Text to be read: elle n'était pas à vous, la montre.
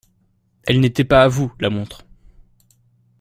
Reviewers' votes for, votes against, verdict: 2, 0, accepted